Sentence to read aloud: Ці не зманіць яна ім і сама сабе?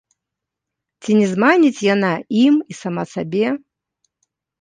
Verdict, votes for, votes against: accepted, 2, 0